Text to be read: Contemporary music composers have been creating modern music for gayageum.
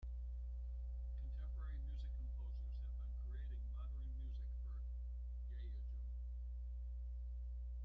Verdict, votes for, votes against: rejected, 0, 2